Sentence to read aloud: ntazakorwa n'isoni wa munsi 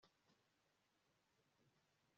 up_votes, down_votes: 1, 2